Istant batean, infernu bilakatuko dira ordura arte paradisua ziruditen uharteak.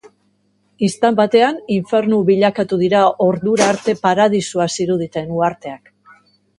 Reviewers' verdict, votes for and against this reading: accepted, 3, 2